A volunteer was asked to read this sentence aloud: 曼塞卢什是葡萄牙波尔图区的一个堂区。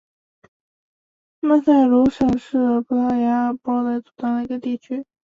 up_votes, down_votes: 2, 3